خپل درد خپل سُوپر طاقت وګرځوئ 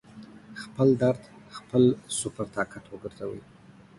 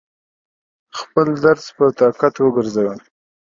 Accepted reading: first